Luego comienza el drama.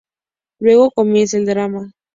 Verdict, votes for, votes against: accepted, 2, 0